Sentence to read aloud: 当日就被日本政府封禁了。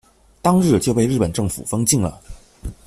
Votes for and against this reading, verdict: 2, 0, accepted